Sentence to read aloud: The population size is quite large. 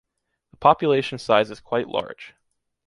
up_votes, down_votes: 2, 0